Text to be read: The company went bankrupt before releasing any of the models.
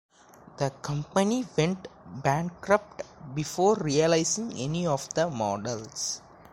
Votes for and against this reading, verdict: 2, 1, accepted